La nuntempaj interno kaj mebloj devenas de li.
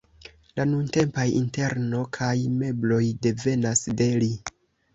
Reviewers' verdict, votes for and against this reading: rejected, 0, 2